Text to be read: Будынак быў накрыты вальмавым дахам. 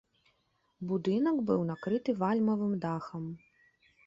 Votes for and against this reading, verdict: 2, 0, accepted